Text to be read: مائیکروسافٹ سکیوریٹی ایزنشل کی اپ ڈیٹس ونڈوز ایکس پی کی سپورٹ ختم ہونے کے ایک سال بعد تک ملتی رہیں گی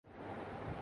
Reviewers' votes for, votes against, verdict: 0, 2, rejected